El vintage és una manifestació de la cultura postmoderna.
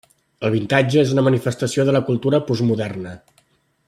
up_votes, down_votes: 0, 2